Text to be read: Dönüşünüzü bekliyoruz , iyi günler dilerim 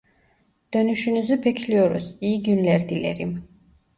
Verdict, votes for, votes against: accepted, 2, 0